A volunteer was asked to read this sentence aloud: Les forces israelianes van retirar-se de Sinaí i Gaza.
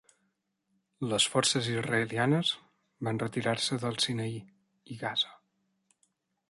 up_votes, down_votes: 1, 2